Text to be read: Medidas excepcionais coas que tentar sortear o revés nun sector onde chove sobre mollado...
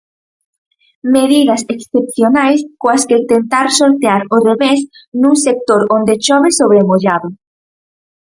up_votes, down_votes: 4, 0